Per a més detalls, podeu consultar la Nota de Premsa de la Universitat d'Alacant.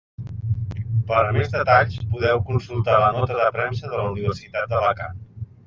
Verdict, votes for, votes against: accepted, 2, 0